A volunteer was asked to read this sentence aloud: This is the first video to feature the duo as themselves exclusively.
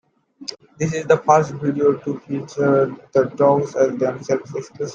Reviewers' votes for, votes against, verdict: 0, 2, rejected